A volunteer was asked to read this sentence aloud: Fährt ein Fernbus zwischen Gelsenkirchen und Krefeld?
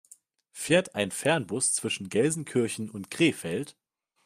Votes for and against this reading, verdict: 2, 0, accepted